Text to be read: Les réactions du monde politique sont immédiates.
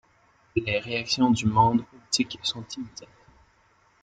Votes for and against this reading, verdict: 2, 0, accepted